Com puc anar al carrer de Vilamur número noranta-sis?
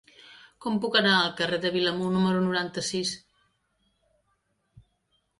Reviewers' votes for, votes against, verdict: 2, 0, accepted